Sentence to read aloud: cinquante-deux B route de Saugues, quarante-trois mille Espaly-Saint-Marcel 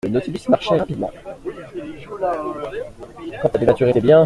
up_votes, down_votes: 0, 2